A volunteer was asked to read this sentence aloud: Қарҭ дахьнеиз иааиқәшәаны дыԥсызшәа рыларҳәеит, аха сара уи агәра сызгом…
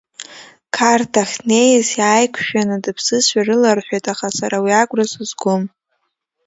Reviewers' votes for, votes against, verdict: 0, 2, rejected